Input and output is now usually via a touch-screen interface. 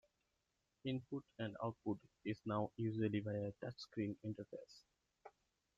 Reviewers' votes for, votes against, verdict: 2, 0, accepted